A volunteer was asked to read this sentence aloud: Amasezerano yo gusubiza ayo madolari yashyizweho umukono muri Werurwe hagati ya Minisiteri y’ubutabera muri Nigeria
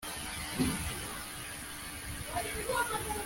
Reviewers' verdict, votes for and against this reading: rejected, 0, 2